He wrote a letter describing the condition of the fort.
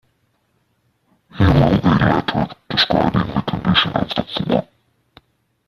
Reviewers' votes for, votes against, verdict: 0, 2, rejected